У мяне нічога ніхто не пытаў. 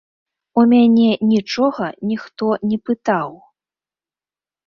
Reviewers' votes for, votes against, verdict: 2, 0, accepted